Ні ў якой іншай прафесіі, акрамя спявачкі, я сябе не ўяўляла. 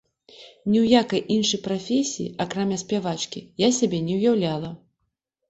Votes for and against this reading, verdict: 2, 3, rejected